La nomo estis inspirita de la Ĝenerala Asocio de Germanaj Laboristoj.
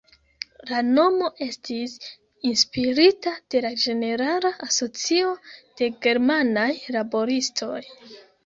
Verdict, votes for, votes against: rejected, 1, 2